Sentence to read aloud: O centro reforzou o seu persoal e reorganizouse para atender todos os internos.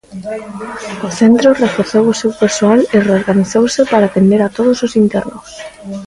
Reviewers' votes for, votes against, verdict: 0, 2, rejected